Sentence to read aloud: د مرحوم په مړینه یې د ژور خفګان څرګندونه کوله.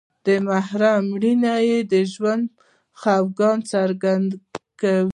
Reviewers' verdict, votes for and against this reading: rejected, 0, 2